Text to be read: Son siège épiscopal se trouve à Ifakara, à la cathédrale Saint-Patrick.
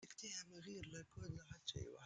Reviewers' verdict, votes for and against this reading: rejected, 0, 2